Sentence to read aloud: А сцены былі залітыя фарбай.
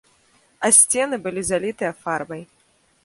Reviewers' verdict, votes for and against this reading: accepted, 2, 0